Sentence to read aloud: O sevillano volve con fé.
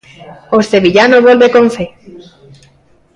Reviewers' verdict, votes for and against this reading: rejected, 1, 2